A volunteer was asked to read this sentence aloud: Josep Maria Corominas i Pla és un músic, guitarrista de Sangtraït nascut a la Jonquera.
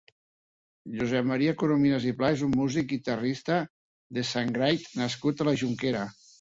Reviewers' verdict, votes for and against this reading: rejected, 0, 3